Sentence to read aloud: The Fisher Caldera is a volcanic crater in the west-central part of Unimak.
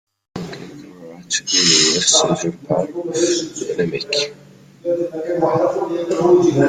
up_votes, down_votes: 0, 2